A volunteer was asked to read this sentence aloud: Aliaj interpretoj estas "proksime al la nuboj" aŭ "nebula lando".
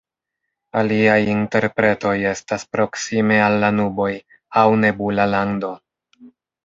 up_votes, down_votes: 1, 2